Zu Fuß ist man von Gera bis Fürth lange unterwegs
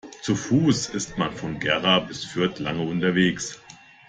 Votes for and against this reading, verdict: 2, 0, accepted